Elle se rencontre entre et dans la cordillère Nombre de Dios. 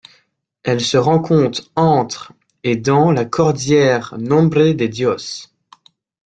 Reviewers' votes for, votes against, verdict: 0, 2, rejected